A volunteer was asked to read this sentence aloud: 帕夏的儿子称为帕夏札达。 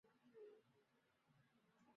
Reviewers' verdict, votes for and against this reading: rejected, 0, 2